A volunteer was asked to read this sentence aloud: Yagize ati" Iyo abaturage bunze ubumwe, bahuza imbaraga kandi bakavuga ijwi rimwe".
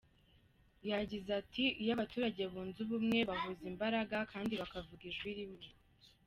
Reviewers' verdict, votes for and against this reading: rejected, 1, 2